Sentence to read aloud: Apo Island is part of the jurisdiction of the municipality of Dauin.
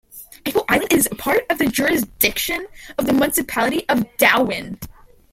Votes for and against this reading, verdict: 0, 2, rejected